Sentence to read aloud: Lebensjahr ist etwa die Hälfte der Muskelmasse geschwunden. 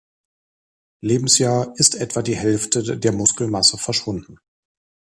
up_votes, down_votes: 1, 2